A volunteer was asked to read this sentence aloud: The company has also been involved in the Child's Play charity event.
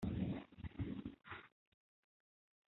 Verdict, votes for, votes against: rejected, 1, 2